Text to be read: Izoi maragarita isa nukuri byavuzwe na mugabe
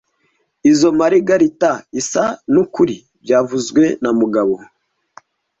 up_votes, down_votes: 1, 2